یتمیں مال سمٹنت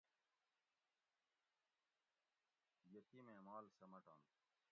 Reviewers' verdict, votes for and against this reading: rejected, 0, 2